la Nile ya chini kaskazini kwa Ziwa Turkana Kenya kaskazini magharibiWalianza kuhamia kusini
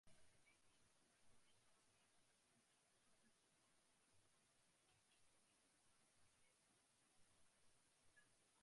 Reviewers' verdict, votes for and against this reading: rejected, 0, 2